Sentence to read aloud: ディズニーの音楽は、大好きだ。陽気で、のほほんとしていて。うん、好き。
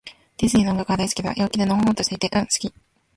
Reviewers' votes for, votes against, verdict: 1, 2, rejected